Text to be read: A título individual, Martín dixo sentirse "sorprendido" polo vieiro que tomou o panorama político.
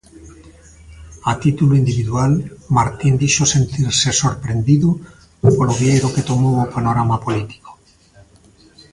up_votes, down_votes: 2, 0